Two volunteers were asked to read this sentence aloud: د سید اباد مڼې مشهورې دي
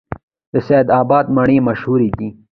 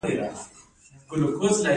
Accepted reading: second